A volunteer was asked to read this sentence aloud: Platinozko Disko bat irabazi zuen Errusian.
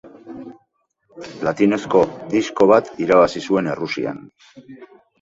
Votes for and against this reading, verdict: 2, 0, accepted